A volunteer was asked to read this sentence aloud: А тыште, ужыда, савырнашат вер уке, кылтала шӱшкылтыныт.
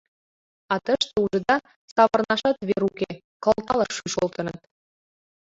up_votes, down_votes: 0, 2